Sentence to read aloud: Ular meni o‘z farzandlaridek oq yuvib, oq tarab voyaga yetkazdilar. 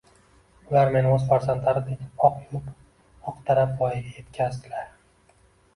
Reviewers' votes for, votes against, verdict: 2, 0, accepted